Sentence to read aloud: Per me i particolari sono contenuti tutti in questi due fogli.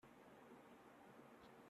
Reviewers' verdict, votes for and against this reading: rejected, 0, 2